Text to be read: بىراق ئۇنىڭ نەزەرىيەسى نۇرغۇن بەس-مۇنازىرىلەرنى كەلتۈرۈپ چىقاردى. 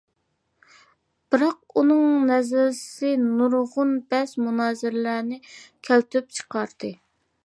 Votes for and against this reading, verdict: 0, 2, rejected